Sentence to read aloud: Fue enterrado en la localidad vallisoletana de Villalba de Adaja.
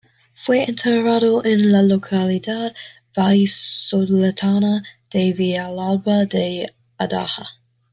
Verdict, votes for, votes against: rejected, 0, 2